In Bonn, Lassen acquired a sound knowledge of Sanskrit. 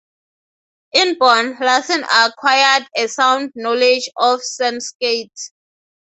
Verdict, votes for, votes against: rejected, 0, 3